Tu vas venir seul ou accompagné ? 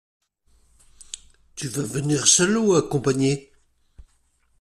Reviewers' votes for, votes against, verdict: 2, 0, accepted